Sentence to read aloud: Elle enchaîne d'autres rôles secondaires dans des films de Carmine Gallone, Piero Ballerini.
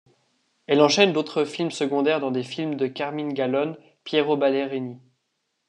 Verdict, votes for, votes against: rejected, 0, 2